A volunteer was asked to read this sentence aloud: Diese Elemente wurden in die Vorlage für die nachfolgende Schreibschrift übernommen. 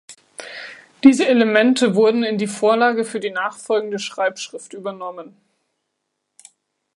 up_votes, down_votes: 2, 0